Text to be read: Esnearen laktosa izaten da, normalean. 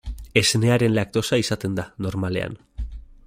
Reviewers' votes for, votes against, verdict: 2, 0, accepted